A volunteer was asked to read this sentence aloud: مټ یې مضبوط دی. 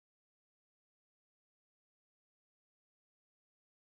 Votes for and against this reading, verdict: 0, 2, rejected